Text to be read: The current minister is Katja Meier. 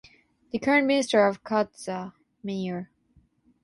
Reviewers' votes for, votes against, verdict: 3, 6, rejected